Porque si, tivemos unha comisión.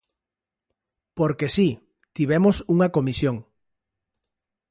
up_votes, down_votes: 2, 0